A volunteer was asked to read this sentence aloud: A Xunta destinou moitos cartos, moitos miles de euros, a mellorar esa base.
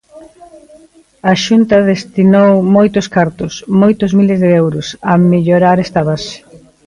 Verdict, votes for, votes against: rejected, 0, 2